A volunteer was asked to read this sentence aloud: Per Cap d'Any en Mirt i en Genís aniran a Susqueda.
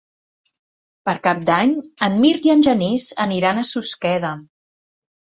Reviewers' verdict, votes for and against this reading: accepted, 3, 0